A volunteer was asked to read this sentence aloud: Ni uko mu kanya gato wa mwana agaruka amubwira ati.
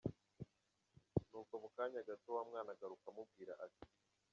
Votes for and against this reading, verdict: 0, 2, rejected